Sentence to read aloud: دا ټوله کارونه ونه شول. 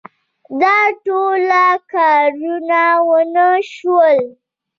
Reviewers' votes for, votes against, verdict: 2, 0, accepted